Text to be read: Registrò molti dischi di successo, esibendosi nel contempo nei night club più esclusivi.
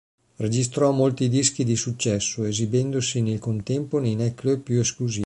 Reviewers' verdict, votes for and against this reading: rejected, 1, 3